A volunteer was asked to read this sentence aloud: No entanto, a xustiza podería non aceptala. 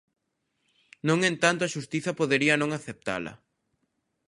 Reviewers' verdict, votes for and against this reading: rejected, 0, 2